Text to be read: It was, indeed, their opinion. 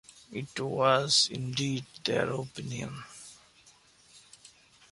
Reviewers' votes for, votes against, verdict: 2, 0, accepted